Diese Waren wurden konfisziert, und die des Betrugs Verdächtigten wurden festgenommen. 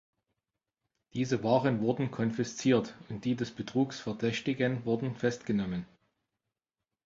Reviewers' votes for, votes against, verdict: 0, 2, rejected